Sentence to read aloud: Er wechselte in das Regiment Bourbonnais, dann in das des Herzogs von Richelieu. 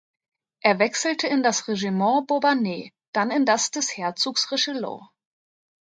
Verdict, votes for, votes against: rejected, 0, 2